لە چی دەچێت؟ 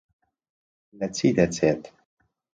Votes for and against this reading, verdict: 2, 0, accepted